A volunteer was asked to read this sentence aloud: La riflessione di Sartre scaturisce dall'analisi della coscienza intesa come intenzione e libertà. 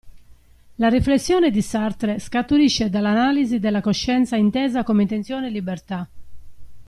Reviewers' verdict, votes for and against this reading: accepted, 2, 0